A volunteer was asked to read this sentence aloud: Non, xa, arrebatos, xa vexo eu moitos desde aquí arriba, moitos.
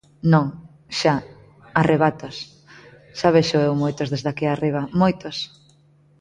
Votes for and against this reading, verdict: 2, 1, accepted